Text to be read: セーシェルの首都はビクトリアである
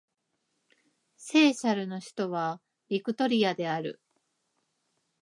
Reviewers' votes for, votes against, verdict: 2, 0, accepted